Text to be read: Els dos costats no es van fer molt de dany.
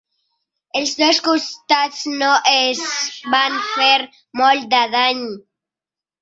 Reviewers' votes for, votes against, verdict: 4, 0, accepted